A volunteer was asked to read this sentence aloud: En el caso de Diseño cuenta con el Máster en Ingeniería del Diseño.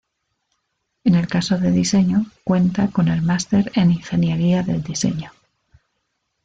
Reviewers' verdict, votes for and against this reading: accepted, 2, 0